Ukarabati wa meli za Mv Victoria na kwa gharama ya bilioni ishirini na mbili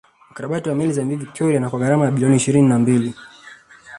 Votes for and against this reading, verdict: 0, 2, rejected